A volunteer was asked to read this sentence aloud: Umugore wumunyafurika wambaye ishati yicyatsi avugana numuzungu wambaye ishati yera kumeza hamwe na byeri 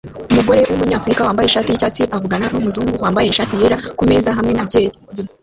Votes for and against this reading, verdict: 0, 2, rejected